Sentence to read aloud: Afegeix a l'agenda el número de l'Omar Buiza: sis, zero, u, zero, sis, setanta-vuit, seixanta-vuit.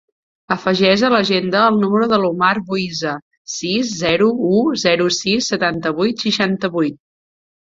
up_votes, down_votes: 2, 0